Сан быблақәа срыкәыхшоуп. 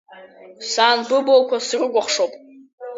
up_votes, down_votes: 2, 0